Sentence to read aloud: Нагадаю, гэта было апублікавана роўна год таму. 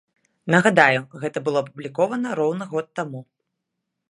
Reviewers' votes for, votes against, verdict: 0, 2, rejected